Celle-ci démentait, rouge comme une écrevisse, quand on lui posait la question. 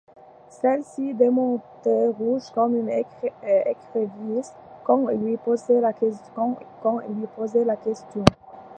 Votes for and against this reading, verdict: 0, 2, rejected